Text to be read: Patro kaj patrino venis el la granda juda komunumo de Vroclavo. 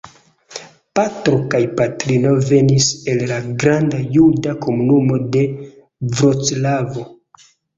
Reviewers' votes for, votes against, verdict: 2, 0, accepted